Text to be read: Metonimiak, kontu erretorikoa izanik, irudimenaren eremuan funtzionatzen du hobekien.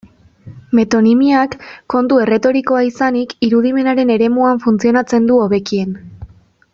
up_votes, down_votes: 2, 0